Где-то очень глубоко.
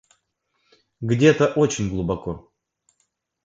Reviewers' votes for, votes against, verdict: 2, 0, accepted